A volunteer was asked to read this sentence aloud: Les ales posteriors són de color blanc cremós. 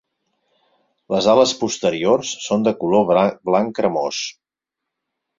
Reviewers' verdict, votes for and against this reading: rejected, 0, 4